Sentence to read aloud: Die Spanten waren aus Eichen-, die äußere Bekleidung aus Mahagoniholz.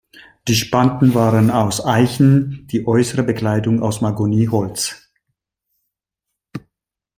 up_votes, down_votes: 0, 2